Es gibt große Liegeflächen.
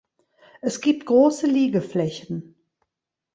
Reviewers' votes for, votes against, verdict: 2, 0, accepted